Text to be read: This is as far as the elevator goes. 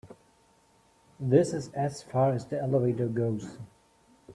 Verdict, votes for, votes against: accepted, 2, 0